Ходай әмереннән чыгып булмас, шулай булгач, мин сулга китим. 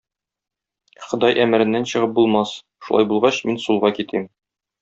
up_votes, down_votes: 2, 0